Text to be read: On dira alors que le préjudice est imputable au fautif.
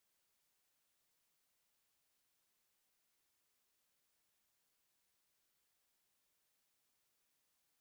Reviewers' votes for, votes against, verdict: 0, 2, rejected